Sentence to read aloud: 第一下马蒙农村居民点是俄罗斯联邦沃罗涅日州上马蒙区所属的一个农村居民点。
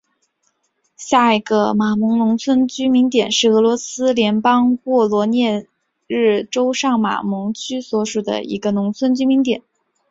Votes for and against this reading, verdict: 5, 0, accepted